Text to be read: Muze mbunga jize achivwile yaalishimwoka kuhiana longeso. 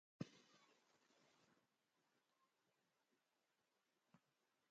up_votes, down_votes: 0, 2